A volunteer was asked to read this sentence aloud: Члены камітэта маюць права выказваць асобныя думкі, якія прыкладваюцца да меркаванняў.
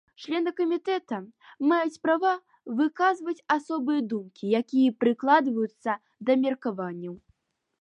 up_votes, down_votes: 1, 2